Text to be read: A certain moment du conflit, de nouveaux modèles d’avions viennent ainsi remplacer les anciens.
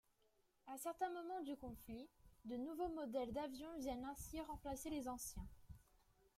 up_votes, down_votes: 1, 2